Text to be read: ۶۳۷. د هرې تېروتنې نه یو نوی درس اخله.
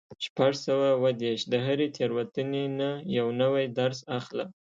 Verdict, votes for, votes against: rejected, 0, 2